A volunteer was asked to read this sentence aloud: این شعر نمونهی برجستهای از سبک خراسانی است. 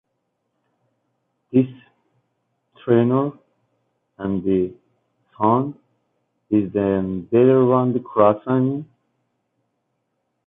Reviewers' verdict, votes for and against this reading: rejected, 0, 2